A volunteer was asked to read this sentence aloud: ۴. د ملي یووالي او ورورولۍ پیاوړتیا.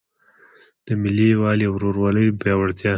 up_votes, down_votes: 0, 2